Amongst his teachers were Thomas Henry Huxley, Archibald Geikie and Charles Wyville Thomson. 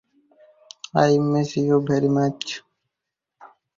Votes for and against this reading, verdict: 0, 4, rejected